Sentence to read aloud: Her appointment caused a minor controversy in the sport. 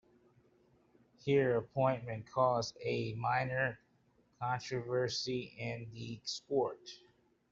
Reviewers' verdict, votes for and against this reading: rejected, 1, 2